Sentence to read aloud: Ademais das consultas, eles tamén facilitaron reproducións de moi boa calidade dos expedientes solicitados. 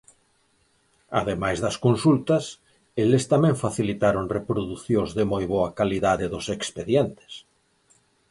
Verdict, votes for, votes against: rejected, 0, 4